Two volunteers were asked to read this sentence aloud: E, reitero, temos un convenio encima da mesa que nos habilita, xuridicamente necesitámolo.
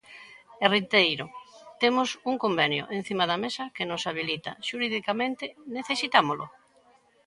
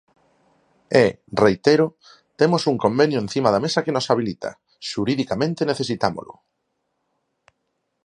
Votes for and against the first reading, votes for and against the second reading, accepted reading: 0, 2, 4, 0, second